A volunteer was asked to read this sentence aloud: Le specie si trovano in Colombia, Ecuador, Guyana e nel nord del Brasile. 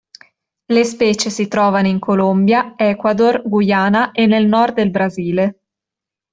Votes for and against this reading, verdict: 2, 0, accepted